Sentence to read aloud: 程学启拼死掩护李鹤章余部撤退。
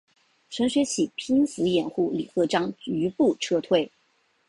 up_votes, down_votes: 6, 0